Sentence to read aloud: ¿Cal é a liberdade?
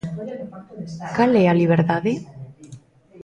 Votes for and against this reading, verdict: 2, 0, accepted